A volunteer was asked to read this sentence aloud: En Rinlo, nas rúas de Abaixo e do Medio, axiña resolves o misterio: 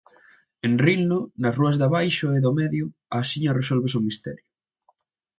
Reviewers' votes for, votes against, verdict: 2, 0, accepted